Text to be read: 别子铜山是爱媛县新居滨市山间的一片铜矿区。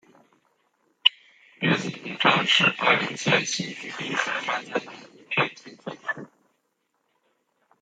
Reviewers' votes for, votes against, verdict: 0, 2, rejected